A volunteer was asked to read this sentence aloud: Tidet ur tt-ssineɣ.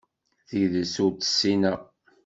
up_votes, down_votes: 2, 0